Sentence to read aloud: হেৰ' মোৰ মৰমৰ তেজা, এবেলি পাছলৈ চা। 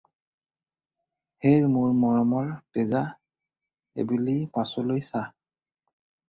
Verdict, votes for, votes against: rejected, 0, 2